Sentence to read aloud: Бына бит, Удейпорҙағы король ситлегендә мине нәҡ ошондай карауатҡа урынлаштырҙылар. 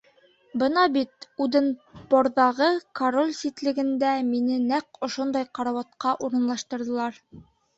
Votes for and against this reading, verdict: 1, 2, rejected